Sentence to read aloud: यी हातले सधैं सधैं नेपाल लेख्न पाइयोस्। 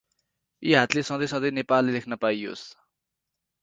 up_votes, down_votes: 2, 2